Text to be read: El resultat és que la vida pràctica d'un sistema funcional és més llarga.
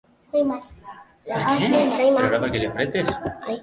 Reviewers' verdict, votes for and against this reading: rejected, 0, 3